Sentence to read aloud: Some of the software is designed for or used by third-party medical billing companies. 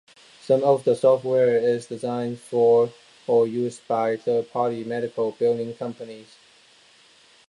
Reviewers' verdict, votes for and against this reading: accepted, 2, 0